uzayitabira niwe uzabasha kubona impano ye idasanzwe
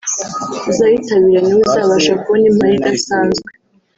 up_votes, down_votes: 1, 2